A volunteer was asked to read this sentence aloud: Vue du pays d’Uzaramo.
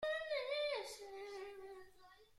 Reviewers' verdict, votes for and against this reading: rejected, 0, 2